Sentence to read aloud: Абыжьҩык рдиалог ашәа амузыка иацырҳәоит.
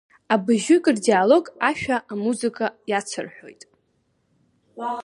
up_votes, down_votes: 2, 0